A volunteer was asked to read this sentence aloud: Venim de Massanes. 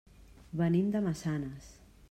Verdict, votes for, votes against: accepted, 3, 0